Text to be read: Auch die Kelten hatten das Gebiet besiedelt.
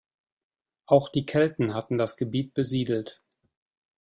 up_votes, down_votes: 2, 0